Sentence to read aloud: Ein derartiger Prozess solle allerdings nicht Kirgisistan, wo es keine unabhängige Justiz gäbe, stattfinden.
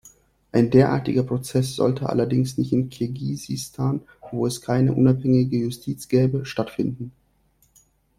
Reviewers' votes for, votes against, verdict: 0, 2, rejected